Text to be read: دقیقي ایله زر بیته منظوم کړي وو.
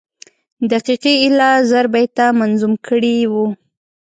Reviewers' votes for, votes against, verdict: 3, 0, accepted